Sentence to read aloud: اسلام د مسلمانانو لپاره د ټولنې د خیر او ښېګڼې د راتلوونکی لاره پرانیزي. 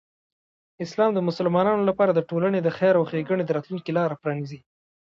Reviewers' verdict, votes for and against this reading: rejected, 1, 2